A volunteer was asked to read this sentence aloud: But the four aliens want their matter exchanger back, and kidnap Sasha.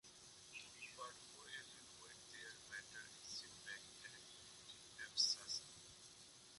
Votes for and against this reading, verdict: 0, 2, rejected